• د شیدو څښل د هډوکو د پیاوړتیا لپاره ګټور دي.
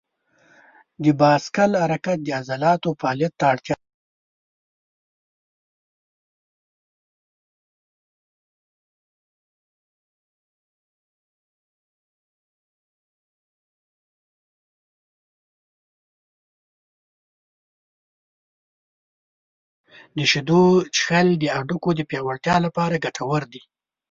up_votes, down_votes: 0, 2